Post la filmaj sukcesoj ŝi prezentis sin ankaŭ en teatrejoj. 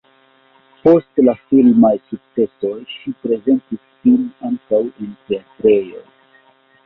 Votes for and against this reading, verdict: 1, 2, rejected